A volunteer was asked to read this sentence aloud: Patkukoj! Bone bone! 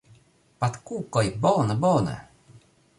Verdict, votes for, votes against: accepted, 2, 1